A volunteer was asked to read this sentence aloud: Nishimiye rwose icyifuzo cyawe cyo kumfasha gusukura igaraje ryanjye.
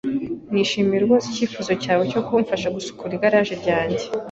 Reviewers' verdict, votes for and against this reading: accepted, 2, 0